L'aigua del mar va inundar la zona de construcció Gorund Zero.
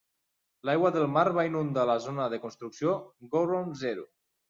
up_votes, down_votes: 3, 0